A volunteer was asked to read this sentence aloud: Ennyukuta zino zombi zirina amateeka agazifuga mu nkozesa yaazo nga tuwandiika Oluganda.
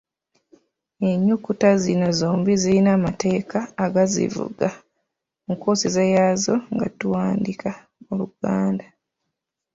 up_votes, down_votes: 1, 2